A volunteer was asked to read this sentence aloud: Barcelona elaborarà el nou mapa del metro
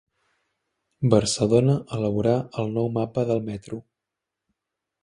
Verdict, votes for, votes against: rejected, 0, 2